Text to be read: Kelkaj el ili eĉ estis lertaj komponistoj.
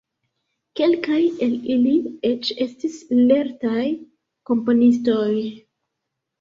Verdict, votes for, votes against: accepted, 2, 0